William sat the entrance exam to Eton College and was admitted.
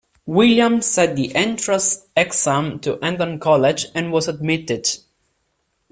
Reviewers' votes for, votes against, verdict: 2, 0, accepted